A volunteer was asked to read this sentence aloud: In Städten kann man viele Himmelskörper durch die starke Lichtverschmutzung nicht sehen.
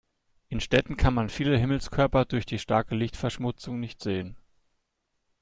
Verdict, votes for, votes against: accepted, 2, 0